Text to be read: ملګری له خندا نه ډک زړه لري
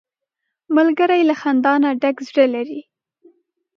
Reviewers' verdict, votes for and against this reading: accepted, 3, 0